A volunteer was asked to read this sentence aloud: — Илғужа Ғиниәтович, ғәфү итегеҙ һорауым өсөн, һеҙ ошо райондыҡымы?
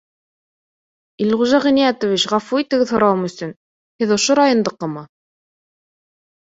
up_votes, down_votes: 2, 1